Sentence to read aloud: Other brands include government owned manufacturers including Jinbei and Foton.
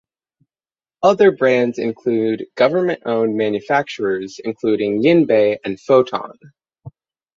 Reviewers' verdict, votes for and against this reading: accepted, 6, 0